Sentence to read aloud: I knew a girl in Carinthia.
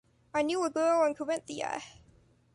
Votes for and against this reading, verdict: 2, 0, accepted